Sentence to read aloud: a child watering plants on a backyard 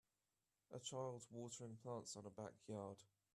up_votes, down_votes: 2, 0